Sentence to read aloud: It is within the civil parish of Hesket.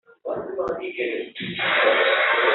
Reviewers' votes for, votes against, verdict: 0, 2, rejected